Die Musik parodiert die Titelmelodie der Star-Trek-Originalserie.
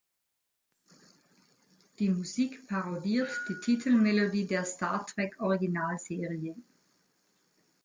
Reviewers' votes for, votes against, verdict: 2, 0, accepted